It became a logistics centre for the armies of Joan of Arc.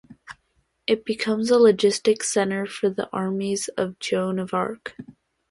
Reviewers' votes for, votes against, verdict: 0, 2, rejected